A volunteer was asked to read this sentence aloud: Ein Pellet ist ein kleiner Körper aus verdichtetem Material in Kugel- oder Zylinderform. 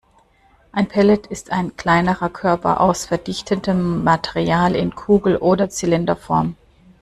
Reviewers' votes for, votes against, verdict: 1, 2, rejected